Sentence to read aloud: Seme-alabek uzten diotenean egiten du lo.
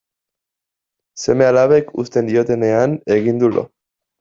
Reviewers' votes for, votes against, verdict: 0, 2, rejected